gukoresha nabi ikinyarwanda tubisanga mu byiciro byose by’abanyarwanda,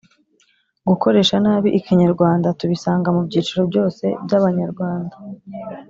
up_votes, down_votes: 3, 0